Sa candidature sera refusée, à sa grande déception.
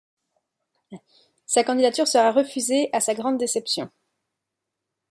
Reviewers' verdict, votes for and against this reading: accepted, 2, 0